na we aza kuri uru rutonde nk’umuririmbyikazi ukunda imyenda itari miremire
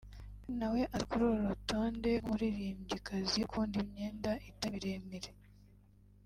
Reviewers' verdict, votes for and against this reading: rejected, 0, 2